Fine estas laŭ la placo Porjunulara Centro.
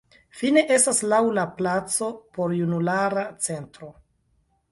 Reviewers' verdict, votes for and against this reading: accepted, 2, 1